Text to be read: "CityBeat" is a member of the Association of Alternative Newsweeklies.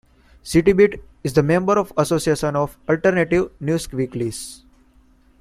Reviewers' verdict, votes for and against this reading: rejected, 0, 2